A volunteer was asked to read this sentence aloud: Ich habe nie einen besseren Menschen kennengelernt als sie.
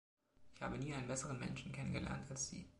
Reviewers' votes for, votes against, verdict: 2, 1, accepted